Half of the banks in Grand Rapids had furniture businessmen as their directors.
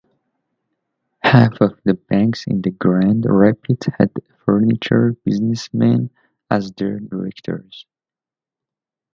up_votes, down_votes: 1, 2